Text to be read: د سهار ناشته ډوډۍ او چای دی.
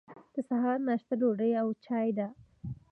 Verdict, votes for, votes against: rejected, 1, 2